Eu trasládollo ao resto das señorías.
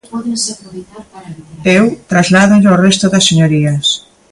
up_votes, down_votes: 1, 2